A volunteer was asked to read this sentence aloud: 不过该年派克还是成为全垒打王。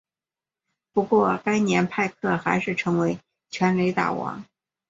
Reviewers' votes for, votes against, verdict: 2, 0, accepted